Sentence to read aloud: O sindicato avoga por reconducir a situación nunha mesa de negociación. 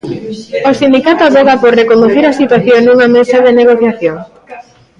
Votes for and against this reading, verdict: 1, 2, rejected